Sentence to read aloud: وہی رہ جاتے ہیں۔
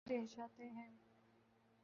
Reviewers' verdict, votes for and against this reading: rejected, 1, 2